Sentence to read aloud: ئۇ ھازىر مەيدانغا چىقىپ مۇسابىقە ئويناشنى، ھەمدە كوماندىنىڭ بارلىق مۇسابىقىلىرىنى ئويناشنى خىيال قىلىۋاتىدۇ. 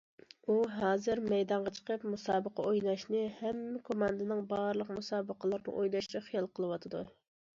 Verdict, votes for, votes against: accepted, 2, 1